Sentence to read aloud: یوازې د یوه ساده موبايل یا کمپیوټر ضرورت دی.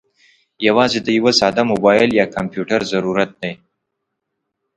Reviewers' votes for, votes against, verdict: 2, 0, accepted